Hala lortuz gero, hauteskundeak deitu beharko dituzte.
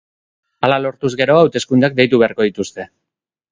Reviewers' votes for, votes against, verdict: 2, 0, accepted